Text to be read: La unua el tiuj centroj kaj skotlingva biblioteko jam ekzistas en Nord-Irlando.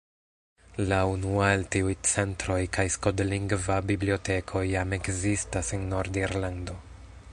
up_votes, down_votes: 2, 0